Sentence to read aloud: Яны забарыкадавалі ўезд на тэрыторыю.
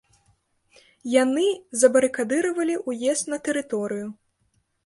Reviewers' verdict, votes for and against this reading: rejected, 0, 2